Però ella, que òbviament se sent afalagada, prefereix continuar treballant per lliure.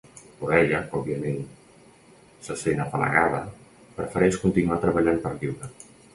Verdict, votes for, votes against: rejected, 1, 2